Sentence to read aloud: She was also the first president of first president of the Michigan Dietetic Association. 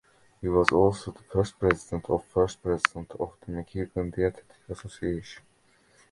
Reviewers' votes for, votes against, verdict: 1, 2, rejected